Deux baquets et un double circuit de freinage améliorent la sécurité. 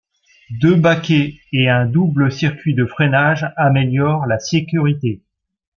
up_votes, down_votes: 2, 0